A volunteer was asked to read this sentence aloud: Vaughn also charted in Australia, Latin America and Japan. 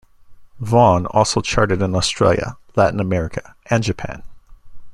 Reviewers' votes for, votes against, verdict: 2, 0, accepted